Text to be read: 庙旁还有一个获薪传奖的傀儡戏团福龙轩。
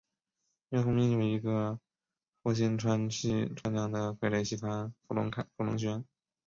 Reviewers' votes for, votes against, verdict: 0, 2, rejected